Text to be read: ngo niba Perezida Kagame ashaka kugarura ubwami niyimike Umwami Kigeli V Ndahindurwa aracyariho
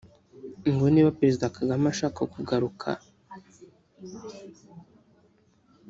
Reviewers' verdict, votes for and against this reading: rejected, 1, 2